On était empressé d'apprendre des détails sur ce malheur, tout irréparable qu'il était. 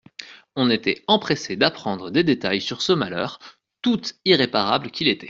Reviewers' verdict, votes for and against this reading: accepted, 2, 0